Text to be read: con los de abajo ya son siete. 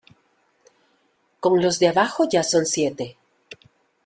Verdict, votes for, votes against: accepted, 2, 0